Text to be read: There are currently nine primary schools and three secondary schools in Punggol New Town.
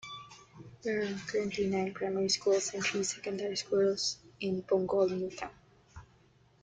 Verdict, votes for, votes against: rejected, 1, 2